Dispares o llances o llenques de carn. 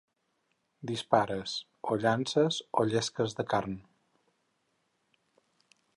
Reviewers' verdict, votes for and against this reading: rejected, 0, 4